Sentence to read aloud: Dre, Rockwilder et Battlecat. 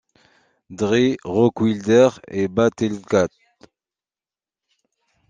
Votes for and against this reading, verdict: 0, 2, rejected